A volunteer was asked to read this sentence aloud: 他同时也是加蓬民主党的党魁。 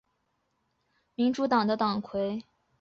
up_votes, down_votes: 0, 2